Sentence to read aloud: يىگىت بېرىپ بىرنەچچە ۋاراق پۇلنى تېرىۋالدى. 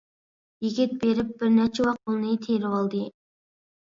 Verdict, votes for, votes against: rejected, 0, 2